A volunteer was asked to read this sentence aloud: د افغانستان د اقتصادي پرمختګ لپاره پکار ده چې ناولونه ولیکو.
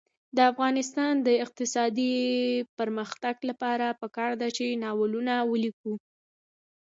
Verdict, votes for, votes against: accepted, 2, 0